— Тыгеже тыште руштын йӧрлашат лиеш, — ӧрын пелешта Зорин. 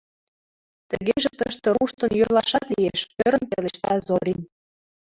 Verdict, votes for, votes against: rejected, 0, 4